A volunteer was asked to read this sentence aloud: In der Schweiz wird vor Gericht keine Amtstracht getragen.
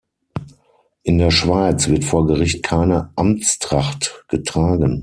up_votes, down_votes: 6, 0